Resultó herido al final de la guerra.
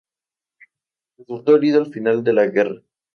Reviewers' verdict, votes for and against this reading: rejected, 0, 2